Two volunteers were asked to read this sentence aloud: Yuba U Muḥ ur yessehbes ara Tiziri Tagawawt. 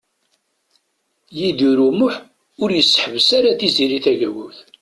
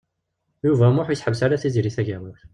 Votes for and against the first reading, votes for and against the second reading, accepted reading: 1, 2, 2, 0, second